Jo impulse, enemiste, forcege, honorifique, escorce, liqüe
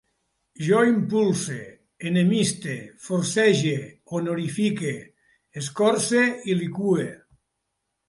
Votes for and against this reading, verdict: 1, 2, rejected